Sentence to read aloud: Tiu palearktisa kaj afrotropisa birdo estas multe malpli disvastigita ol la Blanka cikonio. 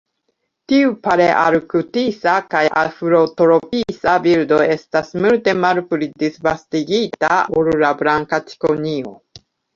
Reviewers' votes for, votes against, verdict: 0, 2, rejected